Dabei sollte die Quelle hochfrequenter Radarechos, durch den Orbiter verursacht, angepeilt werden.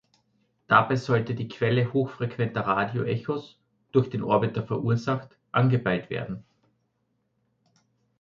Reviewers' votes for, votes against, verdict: 1, 2, rejected